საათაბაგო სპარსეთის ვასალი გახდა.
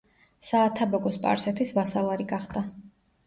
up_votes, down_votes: 0, 2